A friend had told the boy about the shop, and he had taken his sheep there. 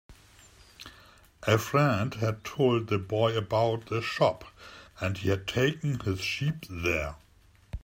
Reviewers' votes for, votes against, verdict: 3, 0, accepted